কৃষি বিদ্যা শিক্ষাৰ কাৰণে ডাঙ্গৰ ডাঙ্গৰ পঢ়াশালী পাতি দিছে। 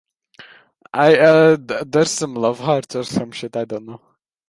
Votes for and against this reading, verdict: 0, 2, rejected